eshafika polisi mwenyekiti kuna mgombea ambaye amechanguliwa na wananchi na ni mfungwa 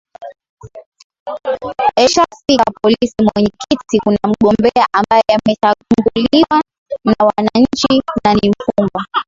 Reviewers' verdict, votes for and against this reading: rejected, 0, 2